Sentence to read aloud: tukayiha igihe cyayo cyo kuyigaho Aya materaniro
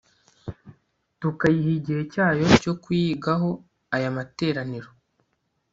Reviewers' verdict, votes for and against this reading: rejected, 1, 2